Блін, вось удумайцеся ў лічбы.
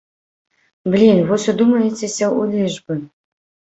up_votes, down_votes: 0, 2